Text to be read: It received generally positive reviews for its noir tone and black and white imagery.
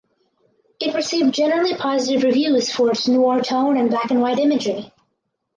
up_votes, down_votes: 2, 4